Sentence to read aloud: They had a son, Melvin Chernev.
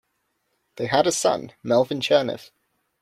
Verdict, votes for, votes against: accepted, 2, 0